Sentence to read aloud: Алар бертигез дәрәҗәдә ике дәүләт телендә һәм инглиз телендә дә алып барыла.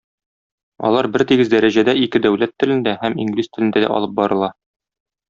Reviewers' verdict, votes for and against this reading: accepted, 2, 0